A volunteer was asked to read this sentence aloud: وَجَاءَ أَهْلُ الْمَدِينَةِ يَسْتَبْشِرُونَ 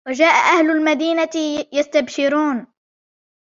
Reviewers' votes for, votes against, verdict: 2, 0, accepted